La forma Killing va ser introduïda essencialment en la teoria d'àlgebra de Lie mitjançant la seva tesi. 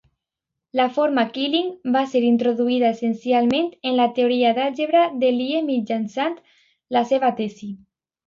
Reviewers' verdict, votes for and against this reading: accepted, 2, 0